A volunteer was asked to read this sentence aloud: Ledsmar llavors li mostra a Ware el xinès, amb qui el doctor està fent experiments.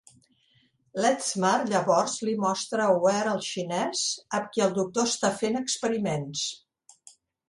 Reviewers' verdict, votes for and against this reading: accepted, 2, 1